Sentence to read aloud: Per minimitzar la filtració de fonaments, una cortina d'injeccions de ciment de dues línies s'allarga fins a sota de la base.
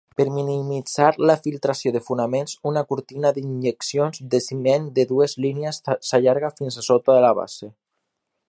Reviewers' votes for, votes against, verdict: 3, 0, accepted